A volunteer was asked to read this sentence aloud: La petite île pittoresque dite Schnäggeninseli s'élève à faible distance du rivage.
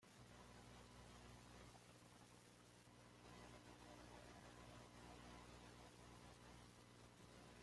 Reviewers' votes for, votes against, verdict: 1, 2, rejected